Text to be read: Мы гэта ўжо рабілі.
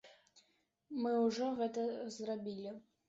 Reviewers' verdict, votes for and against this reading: rejected, 0, 2